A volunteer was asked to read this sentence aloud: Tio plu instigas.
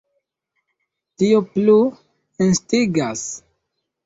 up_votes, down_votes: 1, 2